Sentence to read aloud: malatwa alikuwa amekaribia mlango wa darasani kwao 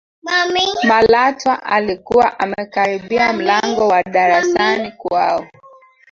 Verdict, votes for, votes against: rejected, 0, 2